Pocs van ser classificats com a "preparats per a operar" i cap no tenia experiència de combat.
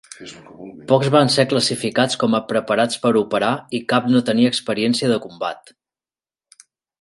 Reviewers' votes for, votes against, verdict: 4, 6, rejected